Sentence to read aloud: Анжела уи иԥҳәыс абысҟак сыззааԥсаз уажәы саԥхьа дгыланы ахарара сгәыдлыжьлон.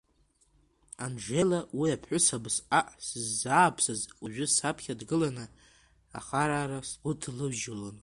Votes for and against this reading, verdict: 2, 0, accepted